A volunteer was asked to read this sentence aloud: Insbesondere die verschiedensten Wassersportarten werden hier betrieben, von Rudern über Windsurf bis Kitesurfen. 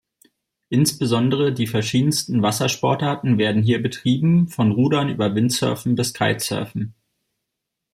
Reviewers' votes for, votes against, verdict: 0, 2, rejected